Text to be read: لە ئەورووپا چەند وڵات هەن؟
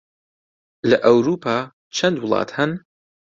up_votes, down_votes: 2, 0